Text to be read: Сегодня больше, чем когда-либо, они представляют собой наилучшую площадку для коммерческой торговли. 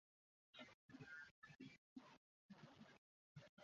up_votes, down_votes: 1, 2